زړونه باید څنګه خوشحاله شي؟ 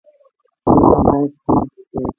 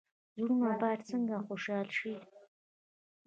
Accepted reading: second